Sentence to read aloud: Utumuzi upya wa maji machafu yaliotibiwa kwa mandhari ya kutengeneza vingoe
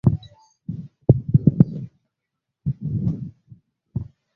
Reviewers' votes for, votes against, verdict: 0, 2, rejected